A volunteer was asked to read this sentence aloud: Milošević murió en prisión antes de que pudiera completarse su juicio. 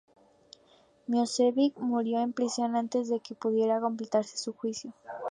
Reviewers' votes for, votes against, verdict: 0, 2, rejected